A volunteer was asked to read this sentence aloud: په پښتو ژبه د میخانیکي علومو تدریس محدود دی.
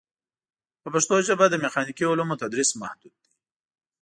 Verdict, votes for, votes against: rejected, 1, 2